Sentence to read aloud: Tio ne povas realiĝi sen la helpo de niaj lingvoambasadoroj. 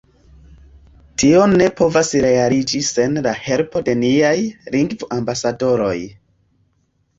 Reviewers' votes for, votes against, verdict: 1, 2, rejected